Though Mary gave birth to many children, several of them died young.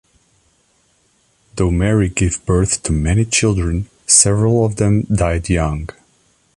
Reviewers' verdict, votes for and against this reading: accepted, 2, 1